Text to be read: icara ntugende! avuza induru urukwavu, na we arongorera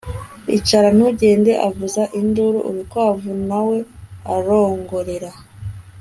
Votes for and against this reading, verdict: 2, 0, accepted